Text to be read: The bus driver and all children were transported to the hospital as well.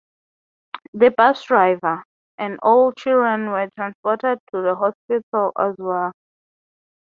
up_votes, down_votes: 3, 0